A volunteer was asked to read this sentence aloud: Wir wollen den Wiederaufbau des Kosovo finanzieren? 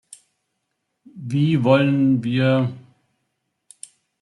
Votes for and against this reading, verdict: 0, 2, rejected